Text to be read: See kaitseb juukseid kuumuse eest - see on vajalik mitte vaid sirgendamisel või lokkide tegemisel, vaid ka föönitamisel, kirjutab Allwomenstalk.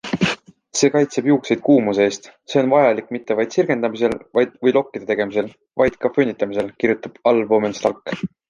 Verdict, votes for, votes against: rejected, 0, 2